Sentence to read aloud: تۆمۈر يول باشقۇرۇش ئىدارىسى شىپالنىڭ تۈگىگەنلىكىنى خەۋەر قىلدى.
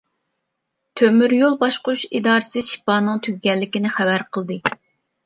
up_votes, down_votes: 1, 2